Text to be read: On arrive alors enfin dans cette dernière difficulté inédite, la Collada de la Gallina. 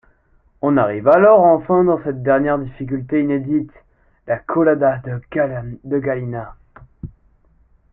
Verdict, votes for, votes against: rejected, 0, 2